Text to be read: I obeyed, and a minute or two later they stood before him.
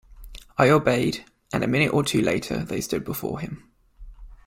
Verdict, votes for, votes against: accepted, 2, 0